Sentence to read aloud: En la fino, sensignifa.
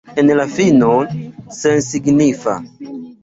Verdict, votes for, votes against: accepted, 2, 1